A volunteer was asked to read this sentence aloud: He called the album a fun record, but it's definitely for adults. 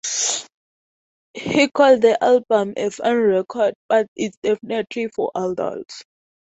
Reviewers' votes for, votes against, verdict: 0, 2, rejected